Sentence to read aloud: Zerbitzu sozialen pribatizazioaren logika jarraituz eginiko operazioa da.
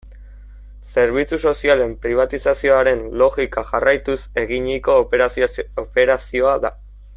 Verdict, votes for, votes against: rejected, 1, 2